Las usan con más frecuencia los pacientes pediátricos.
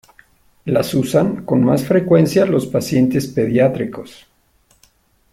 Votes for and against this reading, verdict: 1, 2, rejected